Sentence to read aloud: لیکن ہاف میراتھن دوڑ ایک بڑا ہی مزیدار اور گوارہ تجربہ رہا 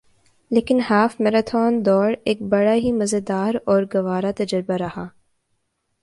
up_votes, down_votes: 2, 0